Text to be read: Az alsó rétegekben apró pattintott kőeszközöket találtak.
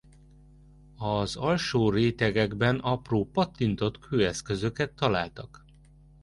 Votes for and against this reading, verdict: 2, 0, accepted